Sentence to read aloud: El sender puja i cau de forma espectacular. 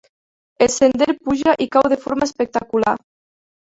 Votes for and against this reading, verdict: 3, 1, accepted